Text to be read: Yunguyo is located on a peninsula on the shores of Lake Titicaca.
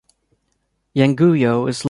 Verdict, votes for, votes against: rejected, 0, 2